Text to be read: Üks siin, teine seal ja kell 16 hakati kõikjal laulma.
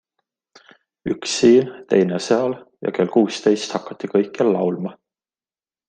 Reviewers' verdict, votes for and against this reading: rejected, 0, 2